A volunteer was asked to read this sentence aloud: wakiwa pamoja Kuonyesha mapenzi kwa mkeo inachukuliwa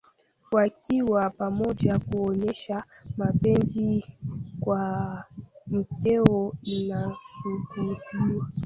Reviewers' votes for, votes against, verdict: 0, 2, rejected